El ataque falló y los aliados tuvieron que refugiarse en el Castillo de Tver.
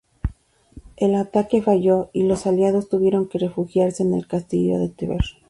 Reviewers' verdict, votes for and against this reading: accepted, 2, 0